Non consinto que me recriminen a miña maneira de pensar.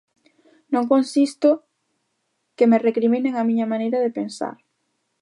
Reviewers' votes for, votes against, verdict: 1, 2, rejected